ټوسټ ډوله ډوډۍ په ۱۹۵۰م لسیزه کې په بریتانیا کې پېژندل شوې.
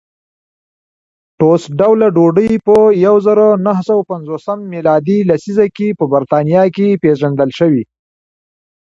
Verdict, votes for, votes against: rejected, 0, 2